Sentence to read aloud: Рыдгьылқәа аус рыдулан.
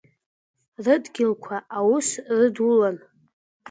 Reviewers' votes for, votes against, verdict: 3, 0, accepted